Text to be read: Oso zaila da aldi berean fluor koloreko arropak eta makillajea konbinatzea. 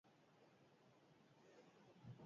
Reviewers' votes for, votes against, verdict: 2, 4, rejected